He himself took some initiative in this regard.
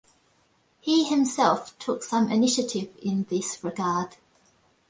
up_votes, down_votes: 2, 0